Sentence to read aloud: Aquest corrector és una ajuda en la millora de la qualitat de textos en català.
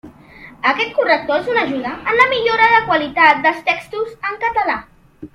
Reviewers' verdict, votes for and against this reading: rejected, 0, 2